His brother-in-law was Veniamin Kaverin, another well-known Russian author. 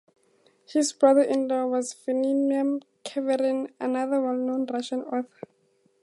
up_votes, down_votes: 2, 0